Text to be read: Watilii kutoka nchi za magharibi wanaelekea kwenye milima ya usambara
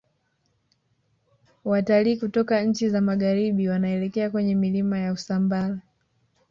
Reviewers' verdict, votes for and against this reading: rejected, 1, 2